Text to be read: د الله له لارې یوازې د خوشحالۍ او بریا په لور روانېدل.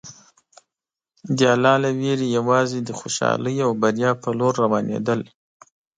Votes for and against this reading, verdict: 2, 3, rejected